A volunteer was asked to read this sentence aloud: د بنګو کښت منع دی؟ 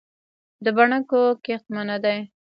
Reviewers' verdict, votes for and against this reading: rejected, 1, 2